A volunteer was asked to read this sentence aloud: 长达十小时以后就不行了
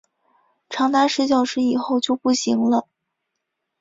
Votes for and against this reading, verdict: 3, 0, accepted